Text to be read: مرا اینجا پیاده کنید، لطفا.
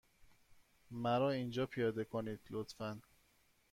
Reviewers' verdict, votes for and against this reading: accepted, 2, 0